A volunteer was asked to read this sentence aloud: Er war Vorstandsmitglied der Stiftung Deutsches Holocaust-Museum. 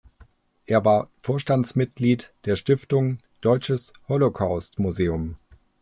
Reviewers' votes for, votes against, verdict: 2, 0, accepted